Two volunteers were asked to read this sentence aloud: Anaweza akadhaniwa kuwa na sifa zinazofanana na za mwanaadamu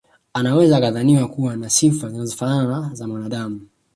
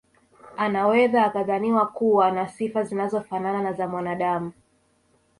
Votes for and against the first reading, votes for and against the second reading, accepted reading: 2, 1, 1, 2, first